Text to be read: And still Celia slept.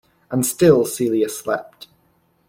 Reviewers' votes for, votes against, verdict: 2, 0, accepted